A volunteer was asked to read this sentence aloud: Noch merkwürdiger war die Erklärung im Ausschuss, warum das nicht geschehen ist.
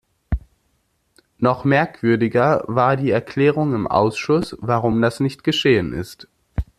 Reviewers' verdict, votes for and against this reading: accepted, 2, 0